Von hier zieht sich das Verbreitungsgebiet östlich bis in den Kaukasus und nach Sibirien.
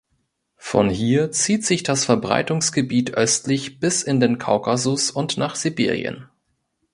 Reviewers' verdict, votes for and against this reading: accepted, 3, 0